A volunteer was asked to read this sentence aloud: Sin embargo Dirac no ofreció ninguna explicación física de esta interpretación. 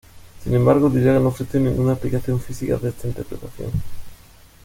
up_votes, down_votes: 1, 2